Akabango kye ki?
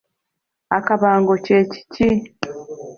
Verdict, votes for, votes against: rejected, 0, 2